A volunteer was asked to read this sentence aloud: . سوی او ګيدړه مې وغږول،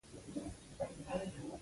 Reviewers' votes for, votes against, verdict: 2, 1, accepted